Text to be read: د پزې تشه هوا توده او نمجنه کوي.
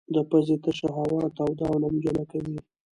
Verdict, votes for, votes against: rejected, 1, 2